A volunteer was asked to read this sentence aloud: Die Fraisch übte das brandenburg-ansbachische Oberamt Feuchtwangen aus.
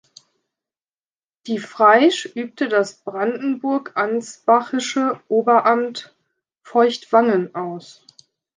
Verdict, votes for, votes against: accepted, 2, 0